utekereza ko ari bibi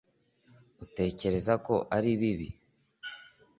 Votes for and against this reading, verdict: 2, 0, accepted